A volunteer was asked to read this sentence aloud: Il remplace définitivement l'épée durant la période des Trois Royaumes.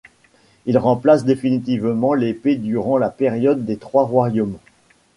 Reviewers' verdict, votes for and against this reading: accepted, 2, 0